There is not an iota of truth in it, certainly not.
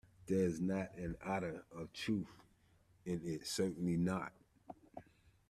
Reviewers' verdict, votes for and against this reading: rejected, 0, 2